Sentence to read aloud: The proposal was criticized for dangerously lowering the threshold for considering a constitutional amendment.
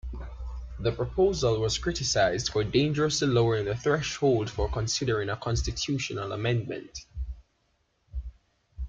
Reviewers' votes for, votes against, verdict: 2, 0, accepted